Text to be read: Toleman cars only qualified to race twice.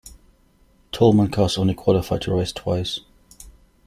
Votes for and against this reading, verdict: 2, 0, accepted